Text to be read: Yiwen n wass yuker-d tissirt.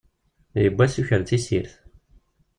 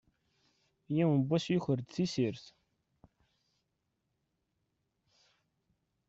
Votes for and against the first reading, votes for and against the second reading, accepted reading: 1, 2, 2, 0, second